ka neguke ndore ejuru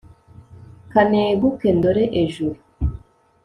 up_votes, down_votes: 2, 0